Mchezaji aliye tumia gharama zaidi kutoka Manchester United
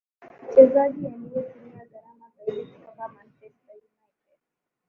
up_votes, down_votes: 2, 1